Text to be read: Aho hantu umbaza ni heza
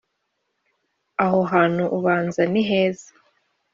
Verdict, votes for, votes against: rejected, 1, 2